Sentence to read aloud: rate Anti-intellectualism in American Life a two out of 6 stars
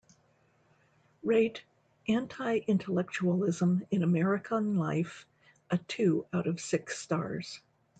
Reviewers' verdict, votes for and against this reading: rejected, 0, 2